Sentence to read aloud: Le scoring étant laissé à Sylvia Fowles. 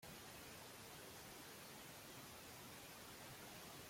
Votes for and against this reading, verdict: 0, 2, rejected